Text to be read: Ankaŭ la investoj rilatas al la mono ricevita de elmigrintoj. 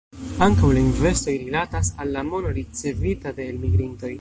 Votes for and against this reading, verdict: 0, 2, rejected